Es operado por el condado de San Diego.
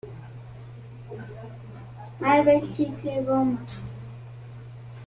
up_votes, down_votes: 0, 2